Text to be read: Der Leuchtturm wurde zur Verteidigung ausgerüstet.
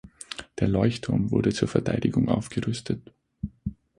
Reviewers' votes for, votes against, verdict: 0, 6, rejected